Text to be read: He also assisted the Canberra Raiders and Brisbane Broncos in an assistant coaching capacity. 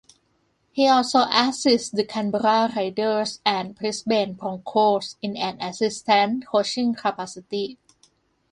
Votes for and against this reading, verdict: 2, 1, accepted